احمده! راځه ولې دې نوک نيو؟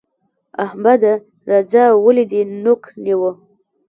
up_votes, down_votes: 1, 2